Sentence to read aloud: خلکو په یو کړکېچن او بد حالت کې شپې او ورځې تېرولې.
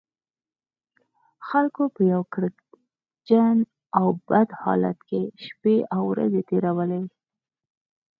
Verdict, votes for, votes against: accepted, 4, 0